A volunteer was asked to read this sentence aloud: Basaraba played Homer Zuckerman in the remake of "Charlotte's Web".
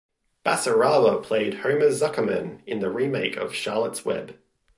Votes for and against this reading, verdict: 1, 2, rejected